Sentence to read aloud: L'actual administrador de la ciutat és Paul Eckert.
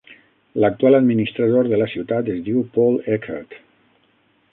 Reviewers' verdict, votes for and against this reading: rejected, 9, 12